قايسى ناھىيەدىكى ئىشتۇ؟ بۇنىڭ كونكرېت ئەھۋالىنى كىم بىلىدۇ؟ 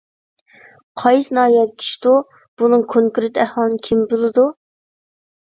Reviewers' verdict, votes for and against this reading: rejected, 1, 2